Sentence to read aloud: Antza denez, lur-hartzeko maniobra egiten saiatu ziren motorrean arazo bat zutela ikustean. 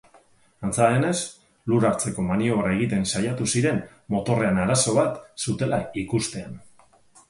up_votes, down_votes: 4, 0